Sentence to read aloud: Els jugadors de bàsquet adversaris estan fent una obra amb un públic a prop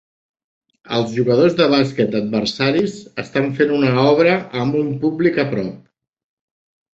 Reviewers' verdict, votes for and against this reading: accepted, 3, 0